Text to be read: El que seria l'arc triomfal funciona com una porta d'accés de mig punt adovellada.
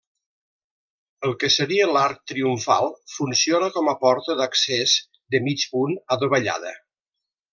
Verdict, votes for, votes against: rejected, 0, 2